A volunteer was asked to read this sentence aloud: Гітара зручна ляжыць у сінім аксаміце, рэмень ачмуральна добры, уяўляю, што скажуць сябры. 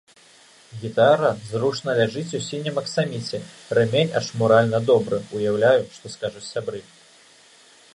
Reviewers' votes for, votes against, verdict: 3, 0, accepted